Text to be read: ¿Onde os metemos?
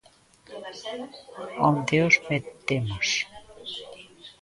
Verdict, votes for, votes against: rejected, 0, 2